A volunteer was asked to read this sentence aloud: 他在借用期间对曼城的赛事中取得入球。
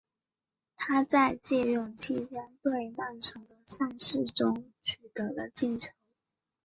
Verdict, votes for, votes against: rejected, 1, 2